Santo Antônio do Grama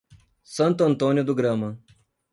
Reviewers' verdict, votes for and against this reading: accepted, 2, 0